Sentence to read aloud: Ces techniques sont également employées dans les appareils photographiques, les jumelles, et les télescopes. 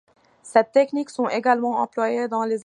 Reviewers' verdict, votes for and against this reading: rejected, 0, 2